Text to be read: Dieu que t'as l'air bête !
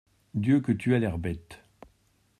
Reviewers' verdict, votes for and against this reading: rejected, 0, 2